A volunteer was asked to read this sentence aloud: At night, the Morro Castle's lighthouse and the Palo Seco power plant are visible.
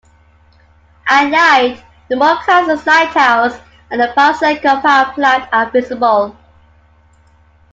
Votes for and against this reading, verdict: 3, 1, accepted